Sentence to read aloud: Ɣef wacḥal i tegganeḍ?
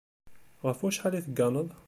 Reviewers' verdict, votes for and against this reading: accepted, 2, 0